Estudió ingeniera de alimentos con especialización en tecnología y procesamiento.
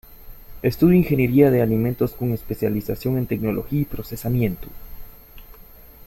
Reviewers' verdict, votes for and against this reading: rejected, 0, 2